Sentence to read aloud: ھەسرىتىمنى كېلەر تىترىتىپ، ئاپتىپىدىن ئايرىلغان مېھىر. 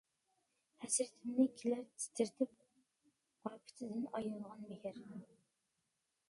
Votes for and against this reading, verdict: 0, 2, rejected